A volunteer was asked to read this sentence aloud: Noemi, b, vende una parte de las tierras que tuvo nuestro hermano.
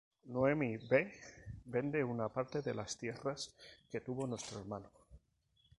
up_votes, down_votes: 4, 0